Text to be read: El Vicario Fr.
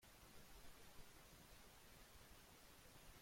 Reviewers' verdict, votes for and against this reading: rejected, 0, 2